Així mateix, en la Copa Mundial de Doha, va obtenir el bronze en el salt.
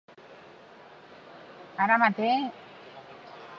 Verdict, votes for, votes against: rejected, 0, 2